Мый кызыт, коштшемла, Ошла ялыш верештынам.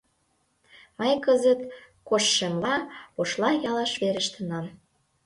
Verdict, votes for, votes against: accepted, 2, 0